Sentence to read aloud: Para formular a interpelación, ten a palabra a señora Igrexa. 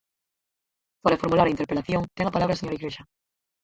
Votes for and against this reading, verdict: 0, 6, rejected